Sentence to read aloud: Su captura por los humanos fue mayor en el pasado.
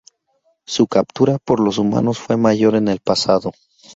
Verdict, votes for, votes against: accepted, 4, 0